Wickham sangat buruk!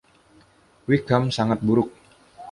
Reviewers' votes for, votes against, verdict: 2, 0, accepted